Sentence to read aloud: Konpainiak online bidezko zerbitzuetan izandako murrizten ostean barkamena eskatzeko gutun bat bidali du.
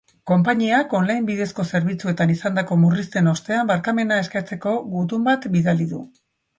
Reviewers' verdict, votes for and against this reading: accepted, 3, 1